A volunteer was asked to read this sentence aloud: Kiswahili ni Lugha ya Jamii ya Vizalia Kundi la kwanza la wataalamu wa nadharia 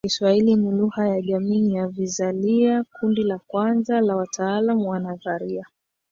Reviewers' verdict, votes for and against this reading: rejected, 0, 3